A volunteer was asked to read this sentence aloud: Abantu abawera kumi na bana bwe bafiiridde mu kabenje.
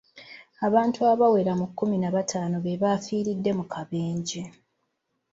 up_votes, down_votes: 0, 2